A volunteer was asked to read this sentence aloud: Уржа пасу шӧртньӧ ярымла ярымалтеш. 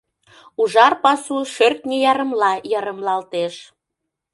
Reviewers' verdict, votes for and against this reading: rejected, 0, 2